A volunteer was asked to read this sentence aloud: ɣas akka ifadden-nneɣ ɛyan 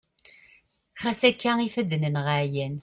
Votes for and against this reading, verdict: 2, 0, accepted